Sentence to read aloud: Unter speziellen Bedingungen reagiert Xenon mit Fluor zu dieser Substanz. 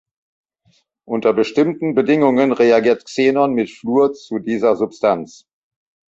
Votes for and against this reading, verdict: 0, 2, rejected